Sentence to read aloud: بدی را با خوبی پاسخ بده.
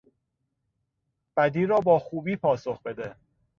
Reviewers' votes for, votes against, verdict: 2, 0, accepted